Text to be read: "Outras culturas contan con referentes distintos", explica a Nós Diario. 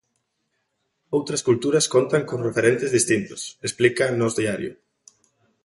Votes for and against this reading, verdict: 2, 0, accepted